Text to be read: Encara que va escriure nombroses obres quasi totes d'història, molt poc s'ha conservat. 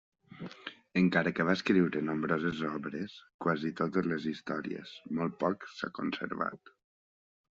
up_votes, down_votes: 0, 2